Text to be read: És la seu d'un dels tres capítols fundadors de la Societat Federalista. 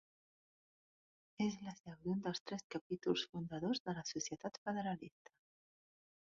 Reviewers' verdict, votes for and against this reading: rejected, 0, 2